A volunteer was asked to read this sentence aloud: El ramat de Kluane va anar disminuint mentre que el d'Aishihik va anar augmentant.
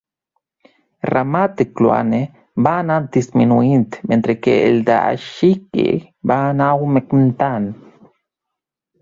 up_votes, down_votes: 2, 0